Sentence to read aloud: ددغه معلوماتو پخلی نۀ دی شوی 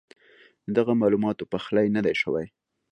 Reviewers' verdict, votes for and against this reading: accepted, 2, 0